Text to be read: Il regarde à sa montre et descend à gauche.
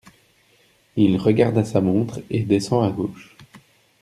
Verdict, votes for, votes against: accepted, 2, 0